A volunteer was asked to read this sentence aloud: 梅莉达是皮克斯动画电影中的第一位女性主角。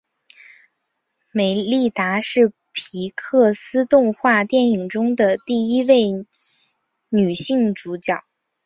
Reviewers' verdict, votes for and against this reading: accepted, 2, 0